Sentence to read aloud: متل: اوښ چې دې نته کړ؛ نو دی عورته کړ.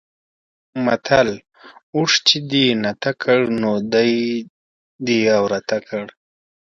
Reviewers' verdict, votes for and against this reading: accepted, 2, 0